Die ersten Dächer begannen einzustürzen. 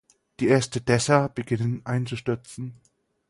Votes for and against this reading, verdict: 0, 4, rejected